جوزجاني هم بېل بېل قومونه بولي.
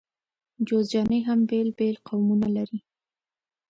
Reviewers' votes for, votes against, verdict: 1, 2, rejected